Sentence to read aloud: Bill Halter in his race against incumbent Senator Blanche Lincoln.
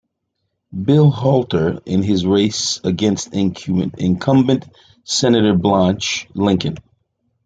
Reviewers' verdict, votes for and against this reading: rejected, 0, 2